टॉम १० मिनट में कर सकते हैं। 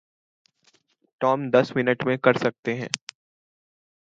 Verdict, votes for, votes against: rejected, 0, 2